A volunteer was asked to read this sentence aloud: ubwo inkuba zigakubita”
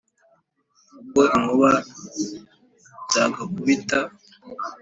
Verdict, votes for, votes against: rejected, 0, 2